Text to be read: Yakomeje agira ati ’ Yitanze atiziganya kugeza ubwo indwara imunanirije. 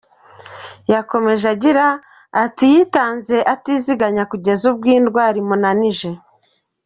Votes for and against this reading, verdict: 1, 2, rejected